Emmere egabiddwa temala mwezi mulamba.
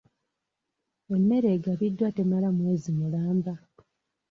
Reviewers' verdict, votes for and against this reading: accepted, 2, 0